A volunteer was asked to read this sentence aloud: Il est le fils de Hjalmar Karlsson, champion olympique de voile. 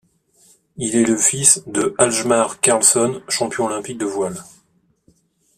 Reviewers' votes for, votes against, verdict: 2, 0, accepted